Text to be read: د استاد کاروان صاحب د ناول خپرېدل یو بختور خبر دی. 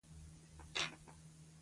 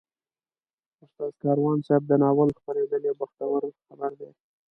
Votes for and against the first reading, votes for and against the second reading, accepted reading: 0, 2, 2, 0, second